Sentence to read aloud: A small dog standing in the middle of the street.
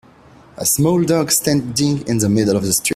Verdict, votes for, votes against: rejected, 1, 2